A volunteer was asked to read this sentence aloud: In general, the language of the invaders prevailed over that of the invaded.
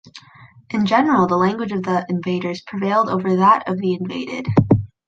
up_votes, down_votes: 2, 0